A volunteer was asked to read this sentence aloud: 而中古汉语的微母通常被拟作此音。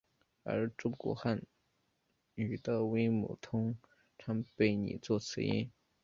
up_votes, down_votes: 1, 2